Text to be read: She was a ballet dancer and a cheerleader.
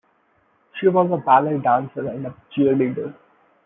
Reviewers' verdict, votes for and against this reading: accepted, 2, 0